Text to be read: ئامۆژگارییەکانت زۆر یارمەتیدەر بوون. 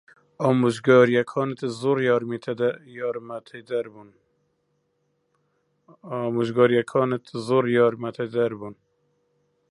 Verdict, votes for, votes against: rejected, 0, 2